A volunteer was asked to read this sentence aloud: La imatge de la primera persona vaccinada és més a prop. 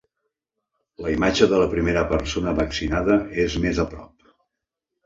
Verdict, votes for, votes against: accepted, 3, 0